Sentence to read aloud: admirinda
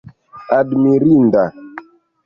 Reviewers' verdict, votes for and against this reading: accepted, 2, 1